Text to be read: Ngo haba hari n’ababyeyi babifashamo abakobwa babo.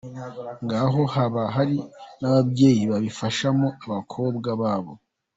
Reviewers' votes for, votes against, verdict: 0, 2, rejected